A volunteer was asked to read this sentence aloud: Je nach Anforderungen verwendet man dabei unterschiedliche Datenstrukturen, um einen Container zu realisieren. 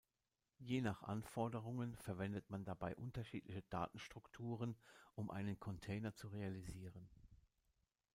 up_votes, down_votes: 2, 1